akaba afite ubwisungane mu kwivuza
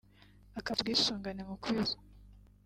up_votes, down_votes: 1, 2